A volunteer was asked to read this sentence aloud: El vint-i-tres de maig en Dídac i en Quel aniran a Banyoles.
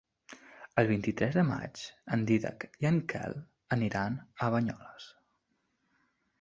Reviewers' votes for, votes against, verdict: 2, 0, accepted